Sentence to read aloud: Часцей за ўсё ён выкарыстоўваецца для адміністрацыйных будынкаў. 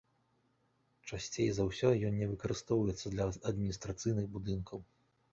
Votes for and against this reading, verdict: 0, 2, rejected